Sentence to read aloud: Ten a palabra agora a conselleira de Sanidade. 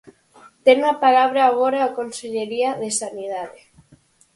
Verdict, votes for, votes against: rejected, 0, 4